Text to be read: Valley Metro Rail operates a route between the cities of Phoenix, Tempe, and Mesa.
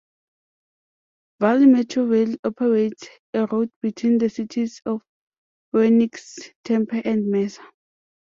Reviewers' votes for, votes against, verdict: 0, 2, rejected